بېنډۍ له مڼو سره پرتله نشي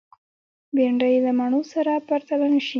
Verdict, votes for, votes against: rejected, 0, 2